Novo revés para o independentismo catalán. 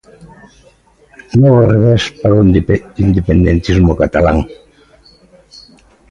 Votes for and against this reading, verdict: 0, 2, rejected